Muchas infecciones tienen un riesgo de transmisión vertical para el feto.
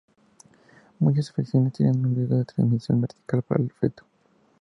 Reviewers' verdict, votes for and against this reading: accepted, 2, 0